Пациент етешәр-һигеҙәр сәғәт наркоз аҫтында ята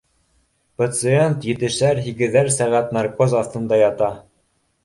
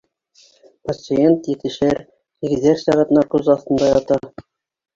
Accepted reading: first